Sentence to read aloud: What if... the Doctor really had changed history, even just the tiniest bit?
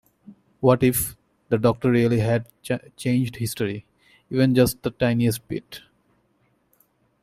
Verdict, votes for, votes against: accepted, 2, 0